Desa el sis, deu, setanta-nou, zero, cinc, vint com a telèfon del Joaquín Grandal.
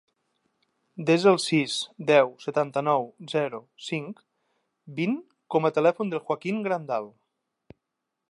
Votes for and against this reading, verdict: 3, 0, accepted